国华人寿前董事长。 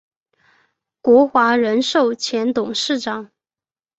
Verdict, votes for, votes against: accepted, 3, 0